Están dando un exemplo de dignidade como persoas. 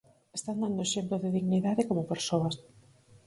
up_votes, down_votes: 4, 0